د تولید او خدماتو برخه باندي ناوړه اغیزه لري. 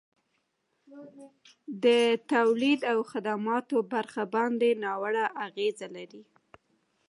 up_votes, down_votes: 1, 2